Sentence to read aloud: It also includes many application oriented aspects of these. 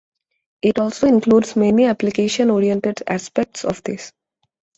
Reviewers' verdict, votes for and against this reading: rejected, 1, 2